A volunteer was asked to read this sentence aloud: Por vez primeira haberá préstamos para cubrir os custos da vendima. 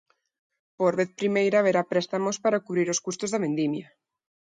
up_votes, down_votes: 0, 2